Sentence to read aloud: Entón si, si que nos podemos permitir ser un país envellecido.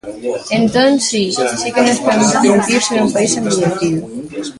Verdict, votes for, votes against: rejected, 0, 2